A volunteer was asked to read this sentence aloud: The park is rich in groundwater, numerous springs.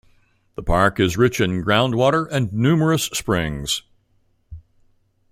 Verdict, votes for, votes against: rejected, 1, 2